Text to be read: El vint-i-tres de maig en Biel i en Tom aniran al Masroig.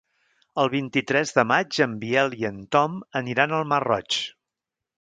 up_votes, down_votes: 1, 2